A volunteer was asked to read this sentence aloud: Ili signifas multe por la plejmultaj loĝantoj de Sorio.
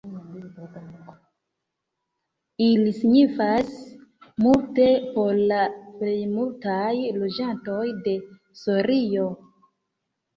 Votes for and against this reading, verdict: 2, 1, accepted